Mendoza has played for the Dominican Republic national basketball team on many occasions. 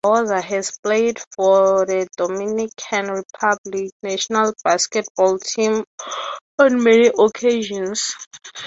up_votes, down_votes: 0, 3